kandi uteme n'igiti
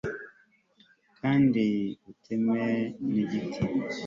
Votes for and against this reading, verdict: 3, 0, accepted